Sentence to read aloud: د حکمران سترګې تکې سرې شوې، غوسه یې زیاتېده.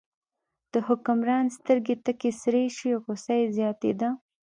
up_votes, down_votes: 2, 0